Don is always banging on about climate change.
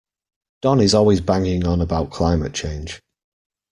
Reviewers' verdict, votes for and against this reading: accepted, 2, 1